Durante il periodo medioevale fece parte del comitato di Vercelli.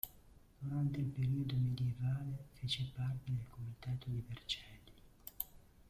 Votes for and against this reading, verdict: 1, 2, rejected